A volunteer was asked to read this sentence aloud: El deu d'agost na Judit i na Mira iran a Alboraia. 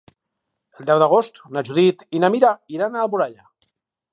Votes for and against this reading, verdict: 4, 2, accepted